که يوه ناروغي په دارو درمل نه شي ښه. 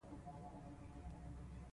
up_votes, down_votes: 0, 2